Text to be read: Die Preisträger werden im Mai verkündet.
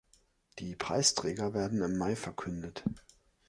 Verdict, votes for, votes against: accepted, 3, 0